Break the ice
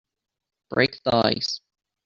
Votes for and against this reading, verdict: 2, 0, accepted